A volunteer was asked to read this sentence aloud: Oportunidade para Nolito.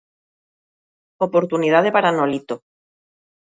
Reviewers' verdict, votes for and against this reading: accepted, 2, 0